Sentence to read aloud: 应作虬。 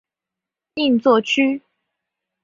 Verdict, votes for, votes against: accepted, 2, 0